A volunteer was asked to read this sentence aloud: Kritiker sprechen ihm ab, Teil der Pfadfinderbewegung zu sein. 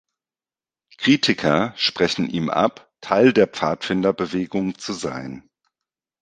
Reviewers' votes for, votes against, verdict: 2, 0, accepted